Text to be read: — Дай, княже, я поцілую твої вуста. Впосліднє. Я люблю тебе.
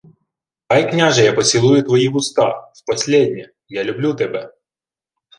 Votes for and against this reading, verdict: 1, 2, rejected